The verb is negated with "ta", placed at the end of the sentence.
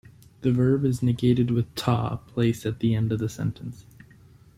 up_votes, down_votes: 2, 0